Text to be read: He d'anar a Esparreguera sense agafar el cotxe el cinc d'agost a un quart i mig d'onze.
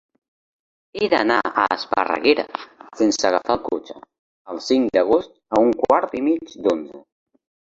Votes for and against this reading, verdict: 2, 0, accepted